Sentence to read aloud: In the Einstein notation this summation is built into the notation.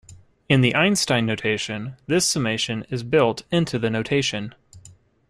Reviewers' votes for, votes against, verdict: 2, 0, accepted